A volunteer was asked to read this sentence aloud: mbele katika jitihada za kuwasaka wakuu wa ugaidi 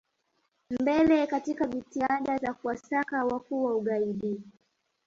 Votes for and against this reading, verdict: 2, 0, accepted